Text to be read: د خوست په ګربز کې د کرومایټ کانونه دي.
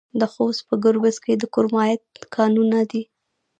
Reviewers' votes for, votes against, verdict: 1, 2, rejected